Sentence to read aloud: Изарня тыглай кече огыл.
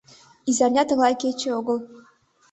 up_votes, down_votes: 2, 0